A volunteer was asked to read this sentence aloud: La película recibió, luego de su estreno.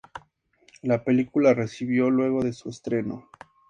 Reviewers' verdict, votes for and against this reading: accepted, 2, 0